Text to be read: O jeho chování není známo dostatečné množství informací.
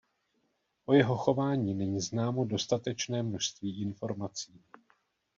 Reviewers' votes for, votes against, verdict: 2, 0, accepted